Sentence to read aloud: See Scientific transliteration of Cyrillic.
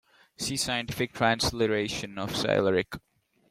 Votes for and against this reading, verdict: 2, 0, accepted